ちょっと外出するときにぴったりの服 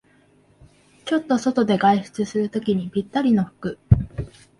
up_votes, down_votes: 1, 2